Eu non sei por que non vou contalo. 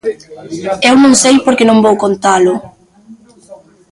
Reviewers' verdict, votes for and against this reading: rejected, 1, 2